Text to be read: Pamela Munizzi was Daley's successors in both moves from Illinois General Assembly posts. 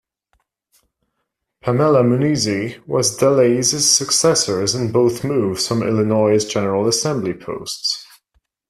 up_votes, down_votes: 1, 2